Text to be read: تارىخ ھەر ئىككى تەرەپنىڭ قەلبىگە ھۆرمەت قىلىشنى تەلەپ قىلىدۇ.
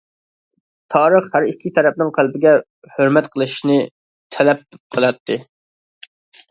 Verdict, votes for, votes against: rejected, 0, 2